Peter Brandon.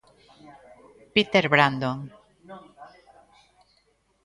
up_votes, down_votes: 1, 2